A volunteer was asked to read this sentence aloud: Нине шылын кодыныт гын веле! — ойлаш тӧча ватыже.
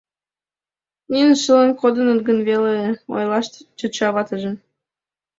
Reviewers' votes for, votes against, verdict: 2, 0, accepted